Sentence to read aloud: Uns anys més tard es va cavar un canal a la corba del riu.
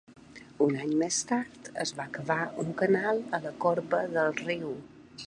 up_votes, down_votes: 0, 2